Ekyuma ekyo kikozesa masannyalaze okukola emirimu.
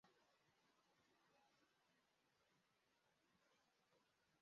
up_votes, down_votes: 0, 2